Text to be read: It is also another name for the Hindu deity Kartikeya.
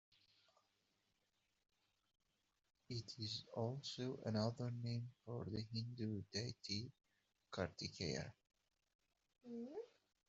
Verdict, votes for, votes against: accepted, 2, 0